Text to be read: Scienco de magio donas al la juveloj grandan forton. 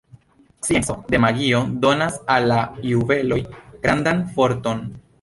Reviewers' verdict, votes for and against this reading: rejected, 1, 2